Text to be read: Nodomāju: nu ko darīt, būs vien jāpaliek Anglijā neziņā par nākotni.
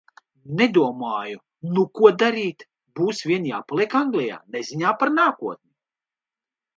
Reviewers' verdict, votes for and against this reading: rejected, 1, 2